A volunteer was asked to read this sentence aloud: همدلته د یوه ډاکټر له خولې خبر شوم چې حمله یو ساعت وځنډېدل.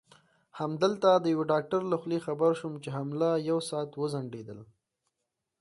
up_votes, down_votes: 2, 0